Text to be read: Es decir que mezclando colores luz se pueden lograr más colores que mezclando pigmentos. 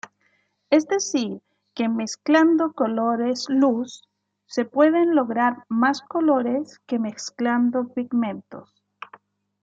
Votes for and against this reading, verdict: 2, 1, accepted